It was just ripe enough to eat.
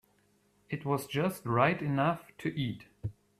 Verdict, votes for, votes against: accepted, 2, 0